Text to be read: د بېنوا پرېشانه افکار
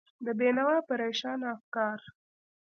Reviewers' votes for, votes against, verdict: 2, 0, accepted